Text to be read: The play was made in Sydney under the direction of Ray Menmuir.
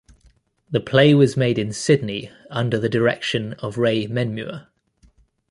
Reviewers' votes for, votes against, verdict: 2, 0, accepted